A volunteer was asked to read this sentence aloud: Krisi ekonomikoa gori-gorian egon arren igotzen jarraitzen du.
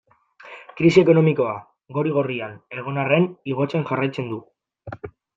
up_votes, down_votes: 0, 2